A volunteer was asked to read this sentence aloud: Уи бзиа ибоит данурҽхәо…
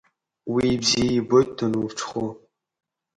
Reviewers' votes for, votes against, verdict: 3, 1, accepted